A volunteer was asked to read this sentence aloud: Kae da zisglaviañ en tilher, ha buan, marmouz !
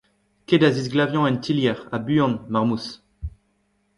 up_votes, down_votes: 1, 2